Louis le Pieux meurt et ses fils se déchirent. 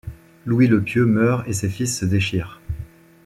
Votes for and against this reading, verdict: 2, 0, accepted